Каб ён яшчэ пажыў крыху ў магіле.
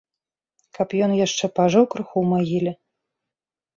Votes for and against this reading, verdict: 3, 0, accepted